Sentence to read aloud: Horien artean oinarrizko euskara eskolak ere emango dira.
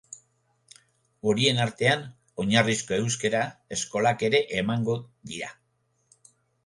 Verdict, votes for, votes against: accepted, 2, 1